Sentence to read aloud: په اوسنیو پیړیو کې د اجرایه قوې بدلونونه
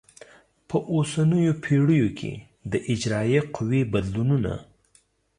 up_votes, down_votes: 2, 0